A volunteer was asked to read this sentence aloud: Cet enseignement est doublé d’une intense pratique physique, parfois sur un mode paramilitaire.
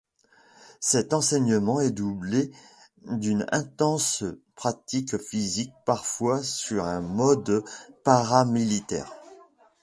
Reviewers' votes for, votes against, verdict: 2, 0, accepted